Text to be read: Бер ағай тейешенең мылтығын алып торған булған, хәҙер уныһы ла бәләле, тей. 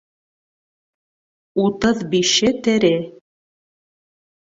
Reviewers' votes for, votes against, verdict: 1, 2, rejected